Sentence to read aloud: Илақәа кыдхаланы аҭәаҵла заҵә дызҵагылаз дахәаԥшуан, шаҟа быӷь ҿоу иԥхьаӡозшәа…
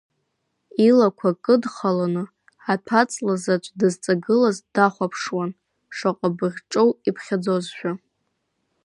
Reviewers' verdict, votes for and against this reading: accepted, 2, 0